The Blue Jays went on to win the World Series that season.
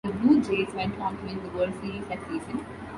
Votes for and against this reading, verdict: 1, 2, rejected